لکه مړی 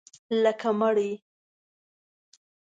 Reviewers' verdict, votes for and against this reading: accepted, 2, 0